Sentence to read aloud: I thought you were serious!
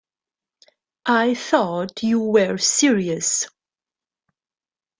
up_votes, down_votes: 2, 0